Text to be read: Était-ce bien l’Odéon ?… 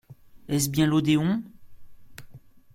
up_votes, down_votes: 0, 2